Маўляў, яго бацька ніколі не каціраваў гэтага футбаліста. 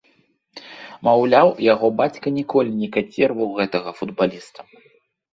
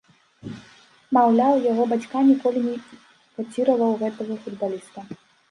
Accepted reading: first